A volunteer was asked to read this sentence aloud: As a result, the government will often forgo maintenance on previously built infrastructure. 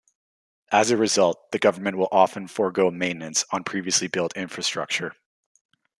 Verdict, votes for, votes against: accepted, 2, 0